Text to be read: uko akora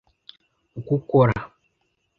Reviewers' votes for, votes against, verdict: 0, 2, rejected